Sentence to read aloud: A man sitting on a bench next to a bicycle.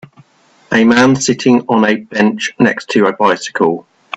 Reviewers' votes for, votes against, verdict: 2, 1, accepted